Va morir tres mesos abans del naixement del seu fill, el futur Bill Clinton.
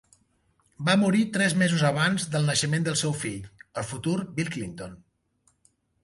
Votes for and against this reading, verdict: 3, 1, accepted